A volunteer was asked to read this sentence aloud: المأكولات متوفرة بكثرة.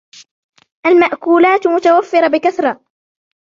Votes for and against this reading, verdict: 1, 2, rejected